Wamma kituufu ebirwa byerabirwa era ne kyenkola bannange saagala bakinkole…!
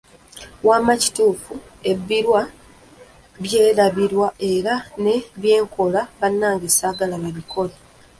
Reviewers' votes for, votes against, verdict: 0, 2, rejected